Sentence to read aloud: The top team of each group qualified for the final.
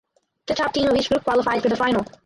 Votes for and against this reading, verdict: 0, 2, rejected